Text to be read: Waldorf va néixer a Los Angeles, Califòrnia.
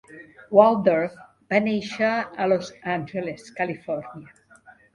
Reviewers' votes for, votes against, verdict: 2, 0, accepted